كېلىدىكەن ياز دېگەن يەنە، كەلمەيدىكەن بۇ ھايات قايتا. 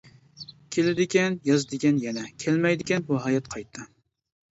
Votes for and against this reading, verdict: 2, 0, accepted